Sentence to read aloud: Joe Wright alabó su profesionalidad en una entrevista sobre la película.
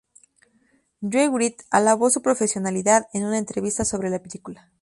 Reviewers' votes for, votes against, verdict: 0, 4, rejected